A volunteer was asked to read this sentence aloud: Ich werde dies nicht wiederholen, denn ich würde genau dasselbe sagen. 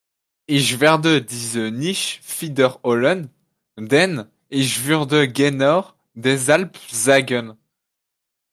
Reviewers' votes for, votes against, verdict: 0, 2, rejected